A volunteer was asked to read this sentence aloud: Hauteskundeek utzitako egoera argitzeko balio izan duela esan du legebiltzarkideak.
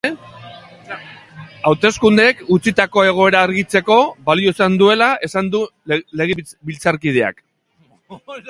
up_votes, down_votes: 0, 2